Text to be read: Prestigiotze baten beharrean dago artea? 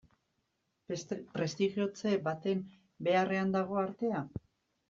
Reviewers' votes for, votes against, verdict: 0, 2, rejected